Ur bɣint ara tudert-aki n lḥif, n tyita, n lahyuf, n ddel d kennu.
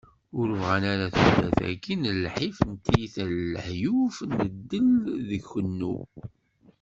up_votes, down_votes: 1, 2